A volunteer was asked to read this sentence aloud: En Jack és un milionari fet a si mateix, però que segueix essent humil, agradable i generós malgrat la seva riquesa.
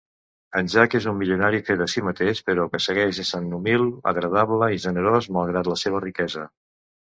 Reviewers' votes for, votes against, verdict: 1, 2, rejected